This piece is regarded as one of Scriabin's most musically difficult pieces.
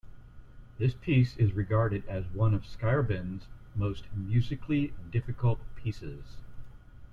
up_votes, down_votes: 1, 2